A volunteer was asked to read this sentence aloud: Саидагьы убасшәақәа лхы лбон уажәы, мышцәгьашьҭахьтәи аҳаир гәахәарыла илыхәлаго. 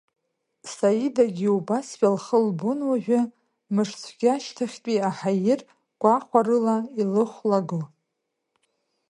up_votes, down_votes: 2, 0